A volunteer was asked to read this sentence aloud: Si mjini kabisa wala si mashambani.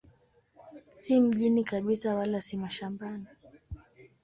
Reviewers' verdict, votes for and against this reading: accepted, 2, 0